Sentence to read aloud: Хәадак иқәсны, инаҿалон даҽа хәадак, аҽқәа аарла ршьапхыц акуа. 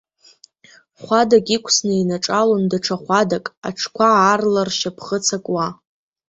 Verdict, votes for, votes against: rejected, 1, 2